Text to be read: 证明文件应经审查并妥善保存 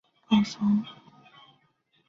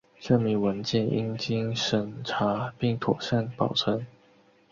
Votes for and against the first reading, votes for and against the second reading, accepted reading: 0, 2, 4, 0, second